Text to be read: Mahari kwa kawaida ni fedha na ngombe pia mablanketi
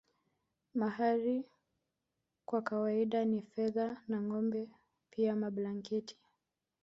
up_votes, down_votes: 1, 2